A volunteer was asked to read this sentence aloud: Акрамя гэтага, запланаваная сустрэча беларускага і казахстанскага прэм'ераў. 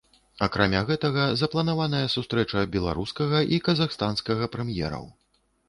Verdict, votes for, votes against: accepted, 2, 0